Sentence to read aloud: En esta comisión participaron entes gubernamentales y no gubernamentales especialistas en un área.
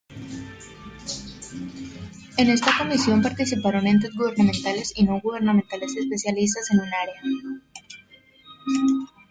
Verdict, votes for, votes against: rejected, 1, 2